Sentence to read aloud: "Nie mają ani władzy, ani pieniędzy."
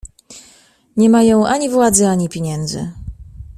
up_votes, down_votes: 2, 0